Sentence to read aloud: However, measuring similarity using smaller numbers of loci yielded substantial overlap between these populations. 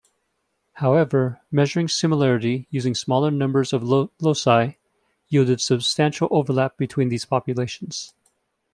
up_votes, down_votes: 1, 2